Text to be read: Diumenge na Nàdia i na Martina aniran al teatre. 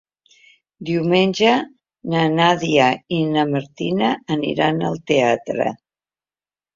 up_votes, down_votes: 3, 0